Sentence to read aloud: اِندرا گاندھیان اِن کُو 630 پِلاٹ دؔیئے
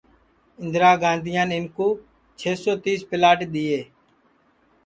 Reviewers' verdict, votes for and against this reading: rejected, 0, 2